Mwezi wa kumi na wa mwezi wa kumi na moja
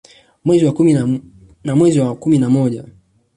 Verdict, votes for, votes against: rejected, 1, 2